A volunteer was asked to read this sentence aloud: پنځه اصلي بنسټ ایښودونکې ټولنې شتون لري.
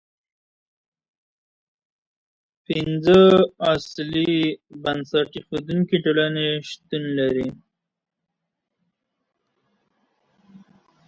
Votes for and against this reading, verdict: 1, 2, rejected